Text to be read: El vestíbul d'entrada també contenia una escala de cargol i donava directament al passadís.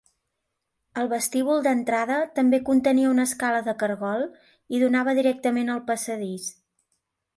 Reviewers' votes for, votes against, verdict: 3, 0, accepted